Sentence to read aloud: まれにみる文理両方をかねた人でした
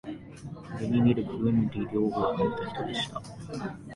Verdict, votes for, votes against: rejected, 0, 2